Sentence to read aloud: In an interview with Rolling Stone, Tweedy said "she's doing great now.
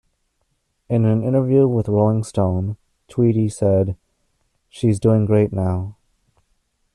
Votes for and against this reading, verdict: 2, 0, accepted